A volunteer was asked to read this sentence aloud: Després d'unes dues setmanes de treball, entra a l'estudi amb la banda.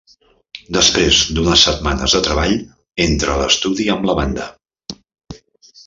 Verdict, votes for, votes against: rejected, 0, 2